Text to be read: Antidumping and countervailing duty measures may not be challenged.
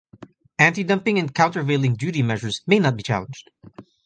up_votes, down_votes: 2, 0